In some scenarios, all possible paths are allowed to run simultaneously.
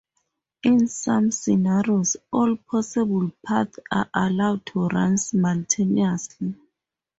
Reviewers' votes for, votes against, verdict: 0, 2, rejected